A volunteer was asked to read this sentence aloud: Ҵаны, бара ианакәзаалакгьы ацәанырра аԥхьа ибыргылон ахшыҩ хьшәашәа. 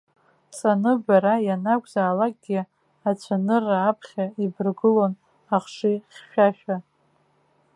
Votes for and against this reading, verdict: 2, 0, accepted